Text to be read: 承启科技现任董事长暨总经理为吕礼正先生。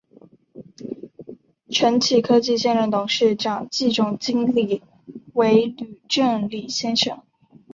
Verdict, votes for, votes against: accepted, 2, 0